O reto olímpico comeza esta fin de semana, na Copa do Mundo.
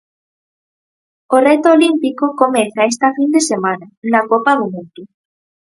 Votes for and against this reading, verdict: 0, 4, rejected